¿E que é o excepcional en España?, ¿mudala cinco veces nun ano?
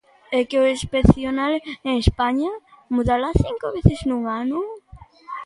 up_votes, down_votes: 0, 2